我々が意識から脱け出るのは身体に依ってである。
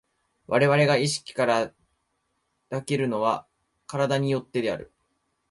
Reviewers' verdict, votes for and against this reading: rejected, 0, 2